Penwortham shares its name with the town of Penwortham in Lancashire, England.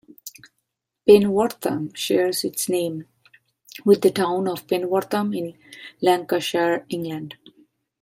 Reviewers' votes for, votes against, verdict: 2, 0, accepted